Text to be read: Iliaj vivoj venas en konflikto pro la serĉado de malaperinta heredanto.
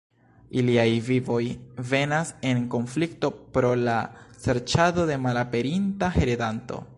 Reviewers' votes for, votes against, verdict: 2, 1, accepted